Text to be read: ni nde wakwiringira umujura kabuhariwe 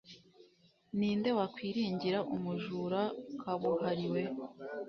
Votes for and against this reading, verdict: 2, 0, accepted